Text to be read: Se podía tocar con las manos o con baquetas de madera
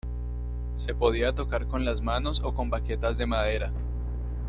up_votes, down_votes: 2, 0